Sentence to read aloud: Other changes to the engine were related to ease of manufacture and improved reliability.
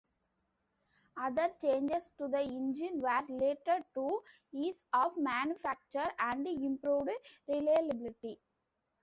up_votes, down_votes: 0, 2